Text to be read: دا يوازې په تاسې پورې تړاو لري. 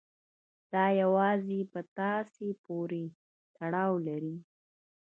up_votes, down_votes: 1, 2